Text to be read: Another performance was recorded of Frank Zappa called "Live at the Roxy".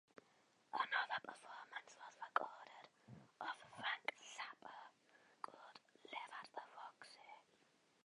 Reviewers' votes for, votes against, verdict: 1, 2, rejected